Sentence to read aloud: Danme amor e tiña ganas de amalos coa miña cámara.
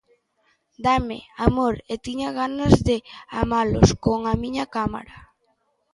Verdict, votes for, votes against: rejected, 0, 2